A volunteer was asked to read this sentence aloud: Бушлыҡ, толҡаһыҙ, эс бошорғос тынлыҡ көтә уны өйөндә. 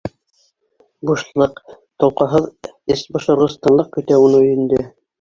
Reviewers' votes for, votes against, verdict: 2, 1, accepted